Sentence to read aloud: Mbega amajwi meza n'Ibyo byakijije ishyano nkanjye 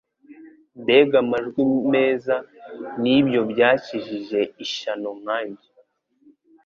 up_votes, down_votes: 2, 0